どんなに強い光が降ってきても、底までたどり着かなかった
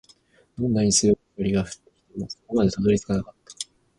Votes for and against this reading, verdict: 0, 2, rejected